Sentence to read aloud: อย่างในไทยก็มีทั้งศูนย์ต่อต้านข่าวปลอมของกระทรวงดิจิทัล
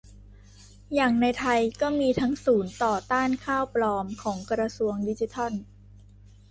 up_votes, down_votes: 1, 2